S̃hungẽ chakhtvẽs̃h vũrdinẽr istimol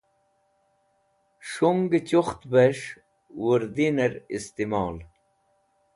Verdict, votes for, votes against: rejected, 0, 2